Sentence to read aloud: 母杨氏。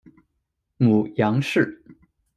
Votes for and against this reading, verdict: 2, 0, accepted